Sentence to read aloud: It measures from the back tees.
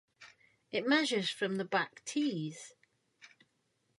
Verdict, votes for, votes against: accepted, 2, 0